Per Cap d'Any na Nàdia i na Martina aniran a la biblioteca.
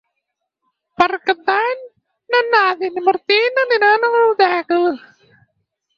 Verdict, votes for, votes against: rejected, 0, 4